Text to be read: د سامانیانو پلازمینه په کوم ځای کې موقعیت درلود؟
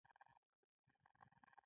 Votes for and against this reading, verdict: 1, 2, rejected